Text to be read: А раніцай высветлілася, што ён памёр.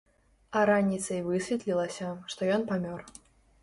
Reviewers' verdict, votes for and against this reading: accepted, 2, 0